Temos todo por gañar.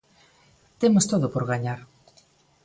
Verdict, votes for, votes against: accepted, 2, 0